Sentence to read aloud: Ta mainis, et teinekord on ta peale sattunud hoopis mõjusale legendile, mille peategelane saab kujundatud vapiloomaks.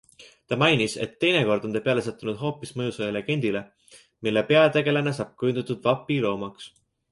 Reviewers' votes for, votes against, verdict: 2, 0, accepted